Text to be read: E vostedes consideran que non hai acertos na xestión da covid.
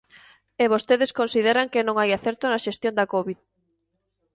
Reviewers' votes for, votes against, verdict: 0, 2, rejected